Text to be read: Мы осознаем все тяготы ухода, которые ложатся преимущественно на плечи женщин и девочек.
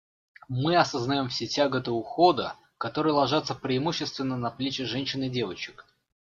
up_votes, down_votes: 2, 0